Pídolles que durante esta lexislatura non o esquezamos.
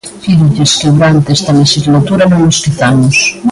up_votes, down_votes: 1, 2